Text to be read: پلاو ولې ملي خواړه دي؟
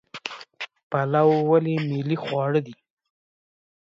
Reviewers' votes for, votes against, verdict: 1, 2, rejected